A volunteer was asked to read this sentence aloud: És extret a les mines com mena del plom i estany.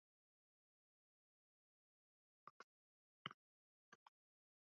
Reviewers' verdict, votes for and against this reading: rejected, 0, 3